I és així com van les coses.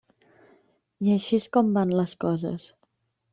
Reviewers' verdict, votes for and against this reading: rejected, 1, 2